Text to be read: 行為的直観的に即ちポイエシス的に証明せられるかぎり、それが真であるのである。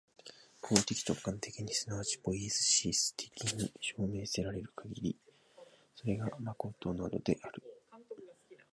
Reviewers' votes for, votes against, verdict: 0, 2, rejected